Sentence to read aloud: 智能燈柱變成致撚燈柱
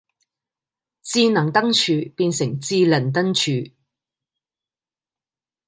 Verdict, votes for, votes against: rejected, 1, 2